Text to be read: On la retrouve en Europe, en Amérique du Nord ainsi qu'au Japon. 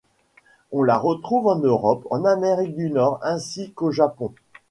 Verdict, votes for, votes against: accepted, 2, 0